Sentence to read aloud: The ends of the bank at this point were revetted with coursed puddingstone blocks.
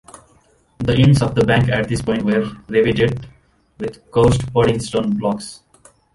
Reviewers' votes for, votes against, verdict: 1, 2, rejected